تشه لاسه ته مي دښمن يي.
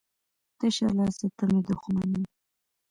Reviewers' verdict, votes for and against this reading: accepted, 2, 0